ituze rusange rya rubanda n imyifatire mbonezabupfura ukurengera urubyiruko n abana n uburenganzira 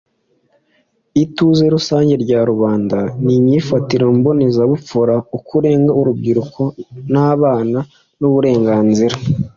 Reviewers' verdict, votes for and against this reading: accepted, 2, 0